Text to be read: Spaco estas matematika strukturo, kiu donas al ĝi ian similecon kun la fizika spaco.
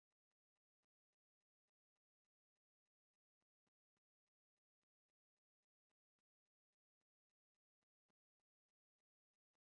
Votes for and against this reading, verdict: 0, 2, rejected